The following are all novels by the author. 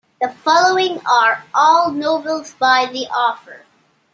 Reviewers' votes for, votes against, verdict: 2, 1, accepted